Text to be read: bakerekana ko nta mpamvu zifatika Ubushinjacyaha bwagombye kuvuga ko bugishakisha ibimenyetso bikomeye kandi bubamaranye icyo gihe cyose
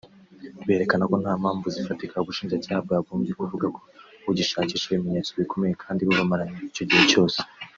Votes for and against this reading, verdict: 0, 2, rejected